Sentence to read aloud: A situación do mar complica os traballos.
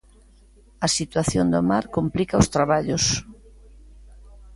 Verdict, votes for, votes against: accepted, 5, 1